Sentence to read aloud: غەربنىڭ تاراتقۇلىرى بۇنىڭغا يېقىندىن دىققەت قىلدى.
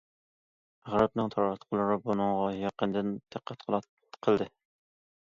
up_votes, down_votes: 0, 2